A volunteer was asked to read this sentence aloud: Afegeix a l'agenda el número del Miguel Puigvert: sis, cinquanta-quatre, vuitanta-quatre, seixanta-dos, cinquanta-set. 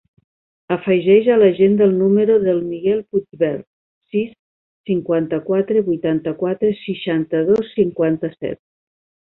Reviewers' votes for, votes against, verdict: 2, 0, accepted